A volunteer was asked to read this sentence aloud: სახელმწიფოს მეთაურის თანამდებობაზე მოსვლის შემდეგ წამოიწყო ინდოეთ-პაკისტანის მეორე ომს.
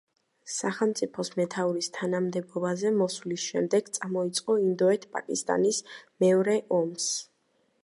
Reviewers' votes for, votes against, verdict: 2, 0, accepted